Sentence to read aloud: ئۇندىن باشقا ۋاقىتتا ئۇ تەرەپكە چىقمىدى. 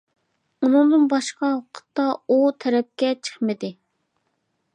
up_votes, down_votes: 0, 2